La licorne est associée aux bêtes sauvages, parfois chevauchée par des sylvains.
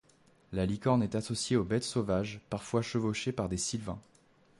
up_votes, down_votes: 2, 0